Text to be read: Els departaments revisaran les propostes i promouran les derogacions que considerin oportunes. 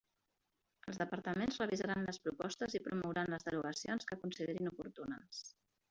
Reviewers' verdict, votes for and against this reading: rejected, 1, 2